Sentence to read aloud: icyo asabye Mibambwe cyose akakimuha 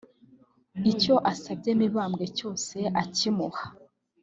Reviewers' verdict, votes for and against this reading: rejected, 0, 2